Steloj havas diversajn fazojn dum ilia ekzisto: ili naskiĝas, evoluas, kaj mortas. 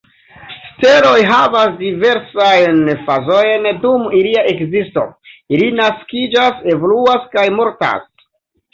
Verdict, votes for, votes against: accepted, 2, 0